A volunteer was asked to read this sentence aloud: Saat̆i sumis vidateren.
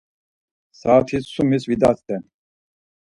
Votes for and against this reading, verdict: 0, 4, rejected